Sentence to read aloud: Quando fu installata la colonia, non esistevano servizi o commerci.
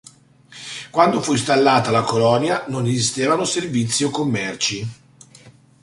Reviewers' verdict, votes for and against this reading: accepted, 2, 0